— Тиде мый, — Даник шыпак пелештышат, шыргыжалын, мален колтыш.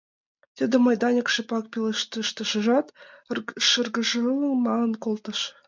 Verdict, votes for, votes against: accepted, 2, 1